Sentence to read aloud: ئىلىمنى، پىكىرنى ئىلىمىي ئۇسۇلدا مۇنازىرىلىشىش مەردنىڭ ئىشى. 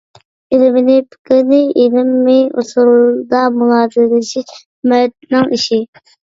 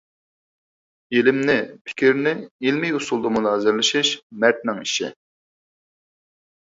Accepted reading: second